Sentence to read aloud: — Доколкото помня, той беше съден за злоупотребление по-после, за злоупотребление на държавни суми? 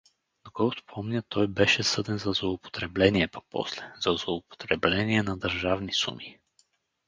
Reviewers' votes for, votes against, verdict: 2, 2, rejected